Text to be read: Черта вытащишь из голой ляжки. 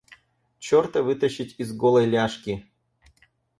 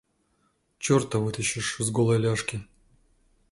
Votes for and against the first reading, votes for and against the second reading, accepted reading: 0, 4, 2, 0, second